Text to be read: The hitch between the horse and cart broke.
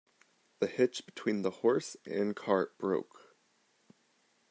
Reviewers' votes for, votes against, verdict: 2, 0, accepted